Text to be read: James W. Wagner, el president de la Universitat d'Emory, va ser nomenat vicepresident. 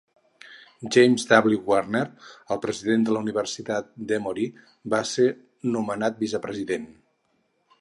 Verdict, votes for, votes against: rejected, 0, 2